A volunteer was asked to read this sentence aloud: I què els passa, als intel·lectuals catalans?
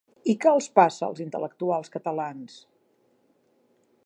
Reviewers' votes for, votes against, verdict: 2, 0, accepted